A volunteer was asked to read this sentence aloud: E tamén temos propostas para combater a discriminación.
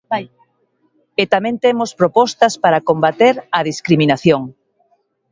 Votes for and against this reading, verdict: 13, 12, accepted